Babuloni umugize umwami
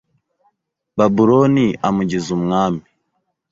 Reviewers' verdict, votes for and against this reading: rejected, 2, 3